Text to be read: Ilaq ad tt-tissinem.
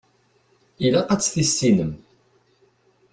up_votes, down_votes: 2, 0